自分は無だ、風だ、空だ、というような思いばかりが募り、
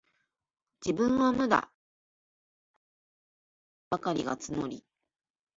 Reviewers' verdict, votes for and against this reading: rejected, 0, 2